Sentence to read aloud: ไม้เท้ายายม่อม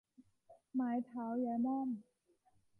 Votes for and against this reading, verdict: 2, 0, accepted